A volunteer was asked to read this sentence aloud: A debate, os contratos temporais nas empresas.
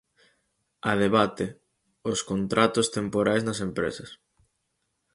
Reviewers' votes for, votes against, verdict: 4, 0, accepted